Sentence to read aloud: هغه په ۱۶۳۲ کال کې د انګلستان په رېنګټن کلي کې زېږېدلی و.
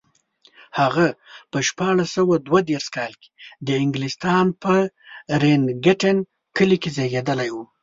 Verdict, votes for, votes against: rejected, 0, 2